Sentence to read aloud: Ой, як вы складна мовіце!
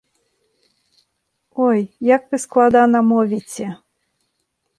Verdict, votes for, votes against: rejected, 0, 2